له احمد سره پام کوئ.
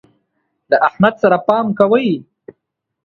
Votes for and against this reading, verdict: 2, 0, accepted